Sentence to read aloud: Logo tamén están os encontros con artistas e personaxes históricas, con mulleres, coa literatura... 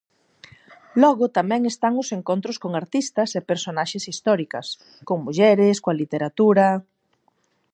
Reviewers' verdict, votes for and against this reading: accepted, 4, 0